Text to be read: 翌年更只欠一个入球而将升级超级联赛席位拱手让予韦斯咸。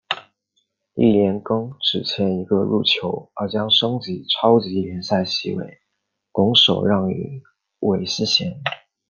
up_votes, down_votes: 2, 0